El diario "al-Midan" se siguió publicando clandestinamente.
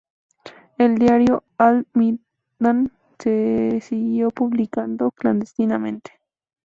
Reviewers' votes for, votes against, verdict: 0, 2, rejected